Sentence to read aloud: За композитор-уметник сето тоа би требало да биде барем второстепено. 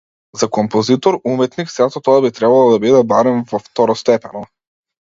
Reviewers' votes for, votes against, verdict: 1, 2, rejected